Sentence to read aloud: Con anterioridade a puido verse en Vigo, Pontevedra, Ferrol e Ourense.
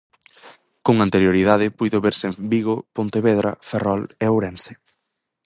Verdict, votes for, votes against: rejected, 0, 4